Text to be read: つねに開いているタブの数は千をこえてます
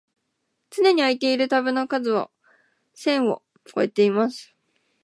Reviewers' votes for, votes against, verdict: 0, 2, rejected